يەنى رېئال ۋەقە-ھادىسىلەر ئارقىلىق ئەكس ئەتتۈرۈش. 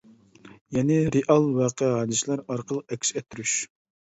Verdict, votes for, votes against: accepted, 2, 0